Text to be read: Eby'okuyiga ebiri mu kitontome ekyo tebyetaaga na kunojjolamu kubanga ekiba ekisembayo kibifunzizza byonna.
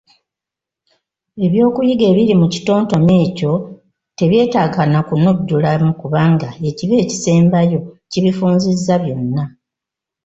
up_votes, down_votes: 1, 2